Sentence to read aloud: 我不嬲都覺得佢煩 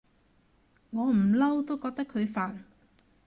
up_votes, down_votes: 0, 2